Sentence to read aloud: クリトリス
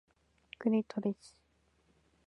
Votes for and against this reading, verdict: 2, 1, accepted